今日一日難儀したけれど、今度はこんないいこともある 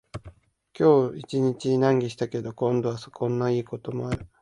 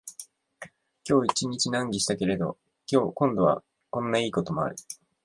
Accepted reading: first